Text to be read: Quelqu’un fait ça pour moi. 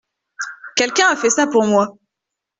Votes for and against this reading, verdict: 1, 2, rejected